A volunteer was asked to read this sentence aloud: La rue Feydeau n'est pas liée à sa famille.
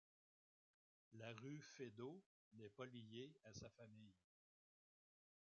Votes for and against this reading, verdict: 0, 2, rejected